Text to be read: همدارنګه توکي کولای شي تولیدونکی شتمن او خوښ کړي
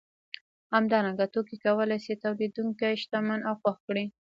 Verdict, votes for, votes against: rejected, 0, 2